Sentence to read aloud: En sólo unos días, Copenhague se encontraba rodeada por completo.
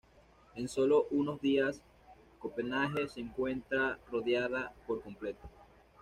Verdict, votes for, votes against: rejected, 1, 2